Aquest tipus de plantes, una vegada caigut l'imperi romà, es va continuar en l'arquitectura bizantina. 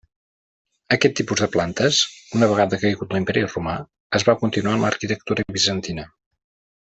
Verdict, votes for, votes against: accepted, 2, 1